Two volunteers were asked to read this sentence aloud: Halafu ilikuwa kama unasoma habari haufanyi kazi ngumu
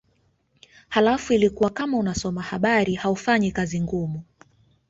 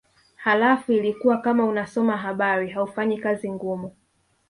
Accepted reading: first